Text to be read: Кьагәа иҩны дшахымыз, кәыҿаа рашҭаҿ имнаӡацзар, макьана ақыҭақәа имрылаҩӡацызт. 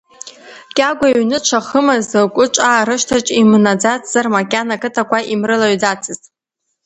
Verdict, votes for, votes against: accepted, 2, 0